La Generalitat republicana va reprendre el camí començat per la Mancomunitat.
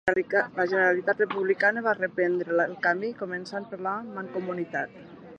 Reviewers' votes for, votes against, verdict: 1, 2, rejected